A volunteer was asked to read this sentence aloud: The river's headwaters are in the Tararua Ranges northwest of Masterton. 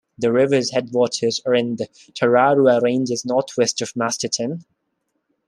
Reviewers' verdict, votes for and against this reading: rejected, 1, 2